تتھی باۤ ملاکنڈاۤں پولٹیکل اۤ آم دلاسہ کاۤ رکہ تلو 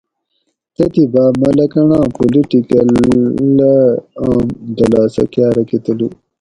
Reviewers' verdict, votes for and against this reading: rejected, 2, 2